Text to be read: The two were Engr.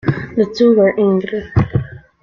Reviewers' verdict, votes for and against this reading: accepted, 2, 0